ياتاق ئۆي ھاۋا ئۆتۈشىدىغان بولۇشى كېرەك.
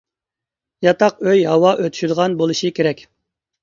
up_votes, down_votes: 2, 0